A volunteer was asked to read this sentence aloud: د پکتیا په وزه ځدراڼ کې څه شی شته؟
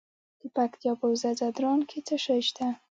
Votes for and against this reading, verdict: 0, 2, rejected